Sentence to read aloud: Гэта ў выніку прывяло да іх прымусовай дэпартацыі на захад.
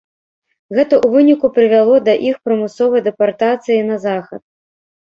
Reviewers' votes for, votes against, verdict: 3, 0, accepted